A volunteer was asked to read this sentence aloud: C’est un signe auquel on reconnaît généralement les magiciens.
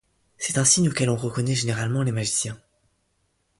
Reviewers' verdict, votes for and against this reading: accepted, 2, 0